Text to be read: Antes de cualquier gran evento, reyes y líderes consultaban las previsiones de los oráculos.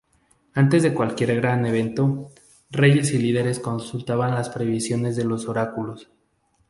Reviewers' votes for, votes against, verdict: 2, 0, accepted